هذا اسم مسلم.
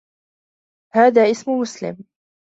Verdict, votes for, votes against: rejected, 1, 2